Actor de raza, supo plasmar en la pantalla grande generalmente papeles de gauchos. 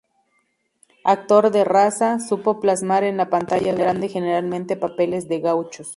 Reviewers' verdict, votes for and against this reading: rejected, 0, 2